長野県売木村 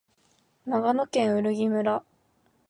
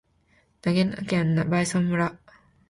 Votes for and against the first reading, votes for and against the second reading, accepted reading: 4, 0, 1, 2, first